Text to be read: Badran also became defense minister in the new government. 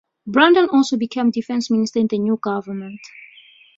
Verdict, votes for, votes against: rejected, 0, 2